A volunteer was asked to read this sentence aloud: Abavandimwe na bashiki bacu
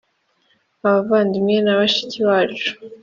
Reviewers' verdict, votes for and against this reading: accepted, 3, 0